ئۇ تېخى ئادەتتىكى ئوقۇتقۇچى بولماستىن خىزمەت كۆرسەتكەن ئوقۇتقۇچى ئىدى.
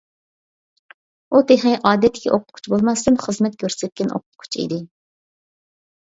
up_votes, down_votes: 2, 0